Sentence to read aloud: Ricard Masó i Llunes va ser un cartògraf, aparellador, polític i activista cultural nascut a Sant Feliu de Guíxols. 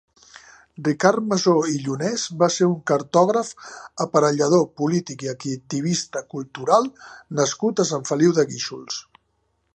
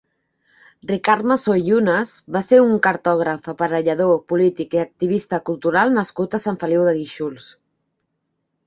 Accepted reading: second